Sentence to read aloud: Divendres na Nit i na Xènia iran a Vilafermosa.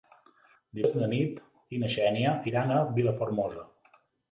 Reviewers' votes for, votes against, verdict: 2, 4, rejected